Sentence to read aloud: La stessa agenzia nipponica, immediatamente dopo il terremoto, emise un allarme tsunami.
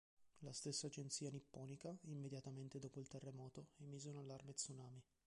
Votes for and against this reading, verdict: 2, 0, accepted